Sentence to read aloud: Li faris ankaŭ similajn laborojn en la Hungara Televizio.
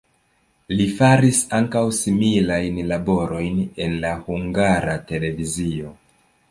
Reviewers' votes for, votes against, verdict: 1, 2, rejected